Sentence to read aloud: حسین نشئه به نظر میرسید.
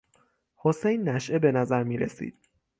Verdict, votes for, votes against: rejected, 3, 3